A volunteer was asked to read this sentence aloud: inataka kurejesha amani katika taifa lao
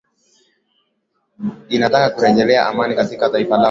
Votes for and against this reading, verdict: 1, 2, rejected